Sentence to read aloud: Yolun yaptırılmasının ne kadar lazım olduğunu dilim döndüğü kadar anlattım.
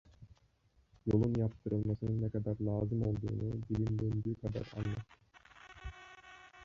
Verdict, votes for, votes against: rejected, 0, 2